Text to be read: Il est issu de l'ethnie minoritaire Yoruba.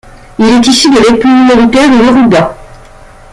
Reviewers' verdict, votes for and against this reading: rejected, 1, 2